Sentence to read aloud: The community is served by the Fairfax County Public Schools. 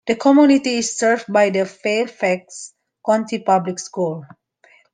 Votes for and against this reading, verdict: 1, 2, rejected